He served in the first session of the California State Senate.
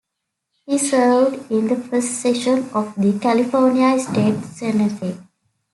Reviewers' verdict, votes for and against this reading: accepted, 2, 1